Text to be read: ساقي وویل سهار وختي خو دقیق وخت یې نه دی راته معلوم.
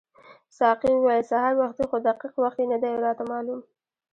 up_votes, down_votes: 0, 2